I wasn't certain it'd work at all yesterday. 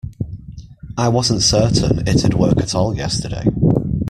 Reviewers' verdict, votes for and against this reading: accepted, 2, 0